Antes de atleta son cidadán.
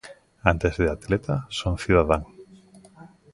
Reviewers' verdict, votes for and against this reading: rejected, 1, 2